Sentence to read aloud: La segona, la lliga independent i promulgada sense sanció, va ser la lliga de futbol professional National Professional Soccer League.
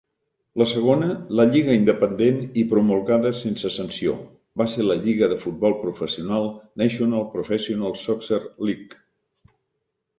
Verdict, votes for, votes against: accepted, 2, 0